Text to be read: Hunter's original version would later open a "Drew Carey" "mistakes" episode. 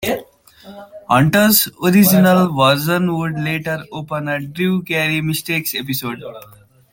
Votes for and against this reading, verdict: 0, 2, rejected